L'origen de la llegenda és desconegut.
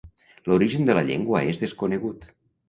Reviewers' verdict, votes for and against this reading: rejected, 0, 2